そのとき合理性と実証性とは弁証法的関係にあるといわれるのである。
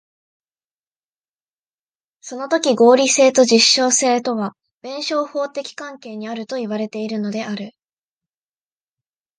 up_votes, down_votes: 0, 2